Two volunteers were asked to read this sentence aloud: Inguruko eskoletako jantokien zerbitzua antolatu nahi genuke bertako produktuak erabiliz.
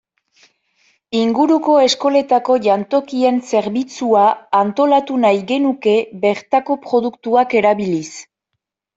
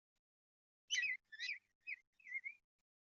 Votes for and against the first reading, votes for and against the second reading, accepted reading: 2, 0, 0, 2, first